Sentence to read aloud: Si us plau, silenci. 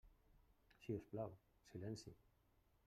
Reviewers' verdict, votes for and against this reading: rejected, 0, 2